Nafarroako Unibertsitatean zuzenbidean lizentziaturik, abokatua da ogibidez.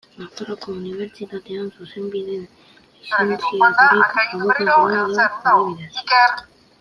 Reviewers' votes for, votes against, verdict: 0, 2, rejected